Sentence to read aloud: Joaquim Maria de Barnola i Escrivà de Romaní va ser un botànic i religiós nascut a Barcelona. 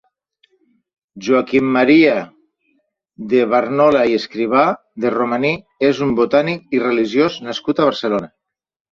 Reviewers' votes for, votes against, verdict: 0, 2, rejected